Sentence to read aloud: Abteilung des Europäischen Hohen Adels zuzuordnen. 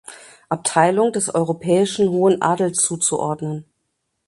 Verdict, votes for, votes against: accepted, 2, 0